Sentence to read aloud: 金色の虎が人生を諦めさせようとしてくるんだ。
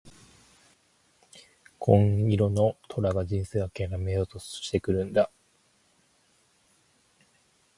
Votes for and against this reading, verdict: 0, 4, rejected